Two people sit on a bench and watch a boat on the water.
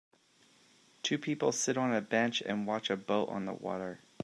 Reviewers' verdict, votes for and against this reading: accepted, 2, 0